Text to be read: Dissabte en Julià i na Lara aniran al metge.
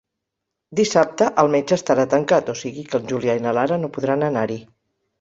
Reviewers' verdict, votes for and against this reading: rejected, 0, 6